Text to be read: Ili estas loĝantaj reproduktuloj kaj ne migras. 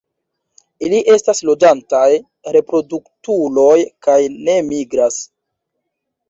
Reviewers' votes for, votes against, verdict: 2, 0, accepted